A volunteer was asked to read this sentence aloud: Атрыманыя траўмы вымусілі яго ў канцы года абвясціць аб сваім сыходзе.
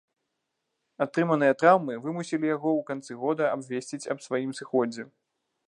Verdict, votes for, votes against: rejected, 1, 3